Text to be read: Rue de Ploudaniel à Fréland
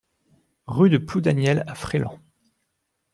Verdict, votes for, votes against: accepted, 2, 0